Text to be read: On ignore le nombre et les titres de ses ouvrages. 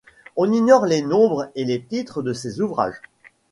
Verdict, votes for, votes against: rejected, 1, 2